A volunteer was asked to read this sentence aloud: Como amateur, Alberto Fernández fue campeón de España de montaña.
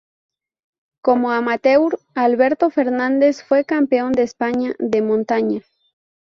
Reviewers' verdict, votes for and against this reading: accepted, 2, 0